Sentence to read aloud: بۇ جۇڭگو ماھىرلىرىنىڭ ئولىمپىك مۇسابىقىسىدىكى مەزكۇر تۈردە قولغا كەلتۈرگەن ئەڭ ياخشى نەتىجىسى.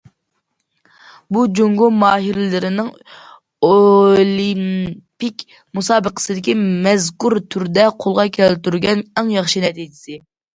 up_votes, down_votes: 2, 1